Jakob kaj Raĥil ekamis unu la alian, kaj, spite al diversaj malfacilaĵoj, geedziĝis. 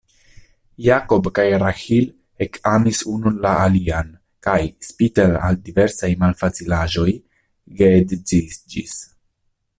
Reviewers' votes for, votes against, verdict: 0, 2, rejected